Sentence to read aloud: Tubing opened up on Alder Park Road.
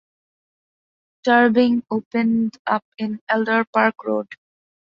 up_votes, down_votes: 0, 3